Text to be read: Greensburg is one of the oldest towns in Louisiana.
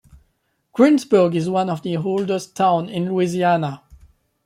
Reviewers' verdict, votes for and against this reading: accepted, 2, 0